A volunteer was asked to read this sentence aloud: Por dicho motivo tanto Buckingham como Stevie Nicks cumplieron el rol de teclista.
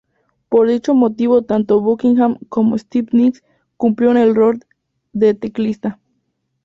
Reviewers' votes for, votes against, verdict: 2, 0, accepted